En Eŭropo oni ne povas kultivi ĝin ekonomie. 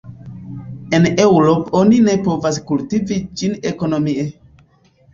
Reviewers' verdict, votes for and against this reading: rejected, 3, 4